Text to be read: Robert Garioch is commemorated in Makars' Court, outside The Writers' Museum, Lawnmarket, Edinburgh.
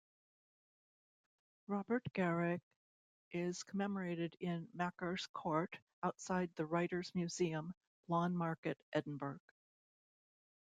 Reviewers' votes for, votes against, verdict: 3, 0, accepted